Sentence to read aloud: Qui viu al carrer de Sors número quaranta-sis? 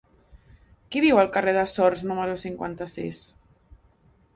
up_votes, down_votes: 0, 2